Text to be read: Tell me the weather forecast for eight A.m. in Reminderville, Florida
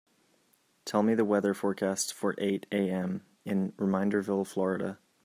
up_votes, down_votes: 2, 0